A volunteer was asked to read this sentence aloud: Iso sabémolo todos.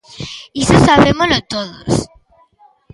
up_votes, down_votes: 2, 0